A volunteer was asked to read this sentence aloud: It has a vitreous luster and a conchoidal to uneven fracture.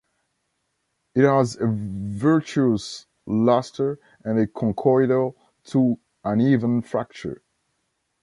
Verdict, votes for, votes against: rejected, 0, 3